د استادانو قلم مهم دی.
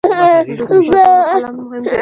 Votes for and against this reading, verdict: 1, 2, rejected